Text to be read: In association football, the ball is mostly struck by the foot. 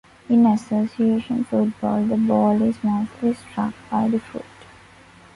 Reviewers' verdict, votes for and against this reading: accepted, 2, 0